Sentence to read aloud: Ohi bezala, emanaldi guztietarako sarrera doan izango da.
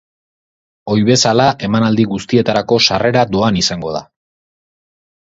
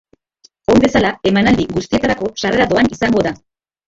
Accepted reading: first